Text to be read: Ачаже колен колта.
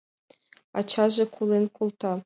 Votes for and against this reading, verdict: 2, 0, accepted